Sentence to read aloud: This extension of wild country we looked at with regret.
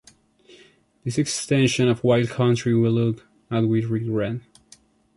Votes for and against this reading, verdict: 1, 2, rejected